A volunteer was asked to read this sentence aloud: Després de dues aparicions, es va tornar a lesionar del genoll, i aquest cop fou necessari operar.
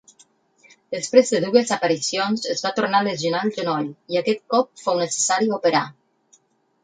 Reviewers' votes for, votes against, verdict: 0, 4, rejected